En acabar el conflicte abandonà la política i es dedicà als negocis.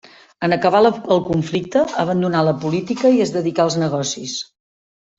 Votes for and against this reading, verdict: 0, 2, rejected